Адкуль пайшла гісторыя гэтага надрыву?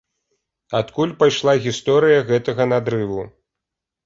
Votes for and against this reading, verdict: 2, 0, accepted